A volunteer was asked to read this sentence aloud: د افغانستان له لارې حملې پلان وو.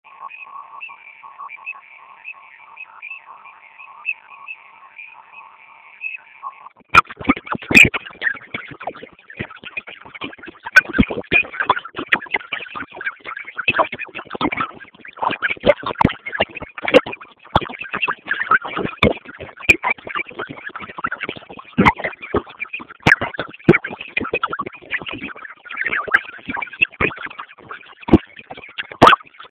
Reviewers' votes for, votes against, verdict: 0, 2, rejected